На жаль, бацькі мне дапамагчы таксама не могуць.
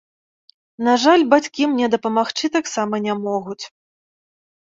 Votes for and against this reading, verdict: 2, 0, accepted